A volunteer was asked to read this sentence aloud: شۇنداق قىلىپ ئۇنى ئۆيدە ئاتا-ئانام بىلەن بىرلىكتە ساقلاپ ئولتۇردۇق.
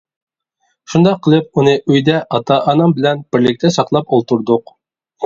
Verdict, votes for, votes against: accepted, 2, 0